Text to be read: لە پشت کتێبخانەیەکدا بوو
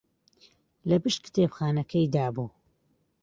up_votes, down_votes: 0, 2